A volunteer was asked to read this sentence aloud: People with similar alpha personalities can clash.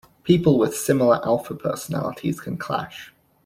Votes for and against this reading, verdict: 2, 0, accepted